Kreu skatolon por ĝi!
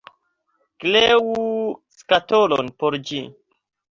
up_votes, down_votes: 2, 0